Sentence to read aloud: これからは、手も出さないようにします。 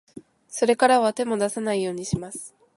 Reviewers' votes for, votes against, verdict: 1, 2, rejected